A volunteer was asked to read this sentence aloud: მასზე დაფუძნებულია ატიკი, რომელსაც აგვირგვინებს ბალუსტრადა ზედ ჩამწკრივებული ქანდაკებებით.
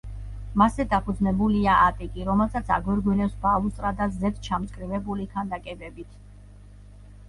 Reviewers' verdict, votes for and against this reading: accepted, 2, 0